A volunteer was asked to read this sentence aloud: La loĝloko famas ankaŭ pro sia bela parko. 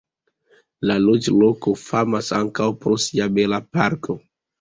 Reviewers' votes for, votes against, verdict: 2, 0, accepted